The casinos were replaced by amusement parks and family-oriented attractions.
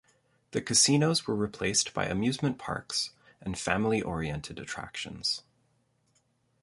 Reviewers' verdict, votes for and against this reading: accepted, 2, 0